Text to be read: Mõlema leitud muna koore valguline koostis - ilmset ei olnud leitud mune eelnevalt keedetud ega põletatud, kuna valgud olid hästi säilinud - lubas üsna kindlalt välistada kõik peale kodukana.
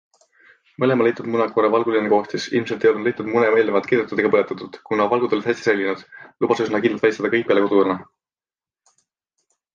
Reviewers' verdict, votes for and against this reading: accepted, 2, 0